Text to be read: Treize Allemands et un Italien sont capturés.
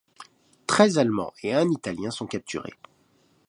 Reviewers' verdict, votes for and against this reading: accepted, 2, 0